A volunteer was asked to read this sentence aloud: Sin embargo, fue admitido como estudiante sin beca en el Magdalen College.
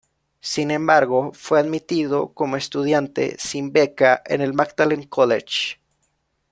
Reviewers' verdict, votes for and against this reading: accepted, 2, 0